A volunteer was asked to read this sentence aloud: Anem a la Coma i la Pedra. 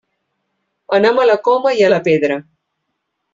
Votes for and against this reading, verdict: 2, 3, rejected